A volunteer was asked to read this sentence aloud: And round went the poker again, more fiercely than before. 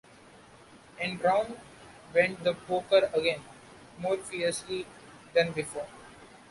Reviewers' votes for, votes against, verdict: 3, 2, accepted